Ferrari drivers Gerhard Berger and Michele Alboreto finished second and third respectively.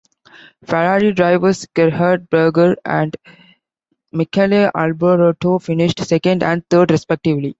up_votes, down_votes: 1, 2